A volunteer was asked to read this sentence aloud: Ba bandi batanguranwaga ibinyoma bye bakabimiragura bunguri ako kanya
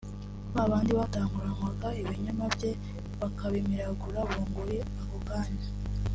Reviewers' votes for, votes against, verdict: 2, 0, accepted